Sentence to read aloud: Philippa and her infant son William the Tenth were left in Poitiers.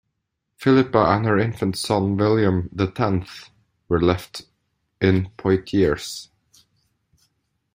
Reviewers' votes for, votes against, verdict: 2, 0, accepted